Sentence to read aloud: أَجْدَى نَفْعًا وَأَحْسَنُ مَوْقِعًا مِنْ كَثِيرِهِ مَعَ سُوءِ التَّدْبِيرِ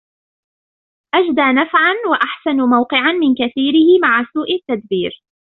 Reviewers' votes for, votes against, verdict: 2, 0, accepted